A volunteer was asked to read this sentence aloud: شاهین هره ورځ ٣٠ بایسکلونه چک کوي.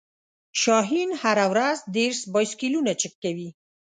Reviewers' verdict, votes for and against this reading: rejected, 0, 2